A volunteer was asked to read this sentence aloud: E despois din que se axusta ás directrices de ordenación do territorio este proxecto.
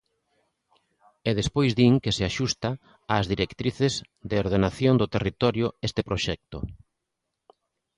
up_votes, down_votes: 2, 0